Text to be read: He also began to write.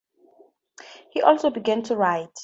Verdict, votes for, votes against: accepted, 2, 0